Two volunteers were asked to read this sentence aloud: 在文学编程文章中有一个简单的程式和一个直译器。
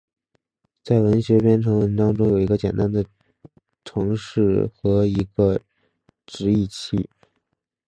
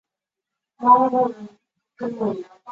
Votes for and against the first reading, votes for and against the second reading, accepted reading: 2, 1, 0, 2, first